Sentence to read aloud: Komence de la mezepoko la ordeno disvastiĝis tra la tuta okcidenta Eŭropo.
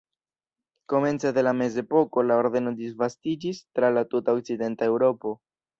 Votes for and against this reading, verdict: 2, 1, accepted